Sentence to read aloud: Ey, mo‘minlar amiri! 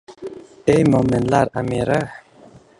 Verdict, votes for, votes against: rejected, 1, 2